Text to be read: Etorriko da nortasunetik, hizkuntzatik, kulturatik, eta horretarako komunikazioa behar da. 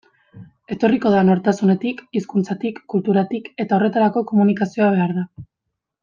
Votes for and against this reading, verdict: 2, 0, accepted